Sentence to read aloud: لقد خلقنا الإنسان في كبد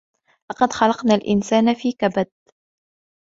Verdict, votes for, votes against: accepted, 2, 0